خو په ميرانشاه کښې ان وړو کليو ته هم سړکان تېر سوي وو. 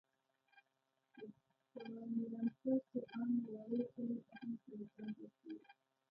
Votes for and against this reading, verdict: 0, 2, rejected